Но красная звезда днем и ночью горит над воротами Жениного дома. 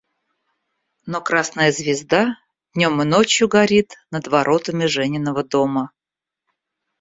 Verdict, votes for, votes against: accepted, 2, 0